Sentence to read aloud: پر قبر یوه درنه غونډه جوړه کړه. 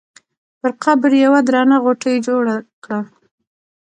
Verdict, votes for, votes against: rejected, 0, 2